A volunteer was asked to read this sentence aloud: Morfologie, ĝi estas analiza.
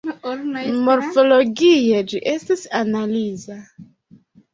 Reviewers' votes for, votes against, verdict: 0, 2, rejected